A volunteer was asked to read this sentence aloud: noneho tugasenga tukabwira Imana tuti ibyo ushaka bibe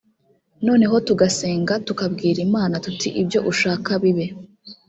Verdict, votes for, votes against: rejected, 1, 2